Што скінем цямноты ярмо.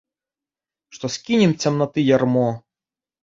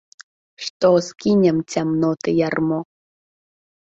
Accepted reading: second